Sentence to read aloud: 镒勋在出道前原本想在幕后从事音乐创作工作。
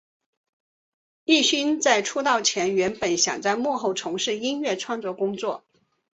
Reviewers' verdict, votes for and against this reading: accepted, 3, 0